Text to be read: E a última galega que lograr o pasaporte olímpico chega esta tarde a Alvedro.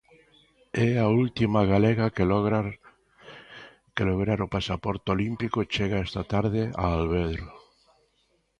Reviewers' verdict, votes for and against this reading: rejected, 0, 2